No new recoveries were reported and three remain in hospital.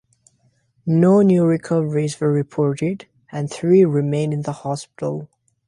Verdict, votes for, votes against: rejected, 0, 2